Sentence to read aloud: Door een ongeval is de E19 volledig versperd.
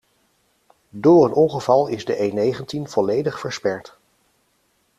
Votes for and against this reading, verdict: 0, 2, rejected